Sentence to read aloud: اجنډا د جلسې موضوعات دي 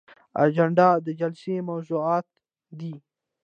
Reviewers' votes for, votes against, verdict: 2, 0, accepted